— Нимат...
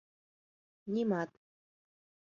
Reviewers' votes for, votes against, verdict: 2, 0, accepted